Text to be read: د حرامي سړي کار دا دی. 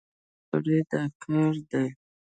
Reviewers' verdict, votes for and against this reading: rejected, 0, 2